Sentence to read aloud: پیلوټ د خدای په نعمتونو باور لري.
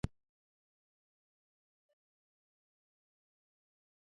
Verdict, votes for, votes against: rejected, 1, 2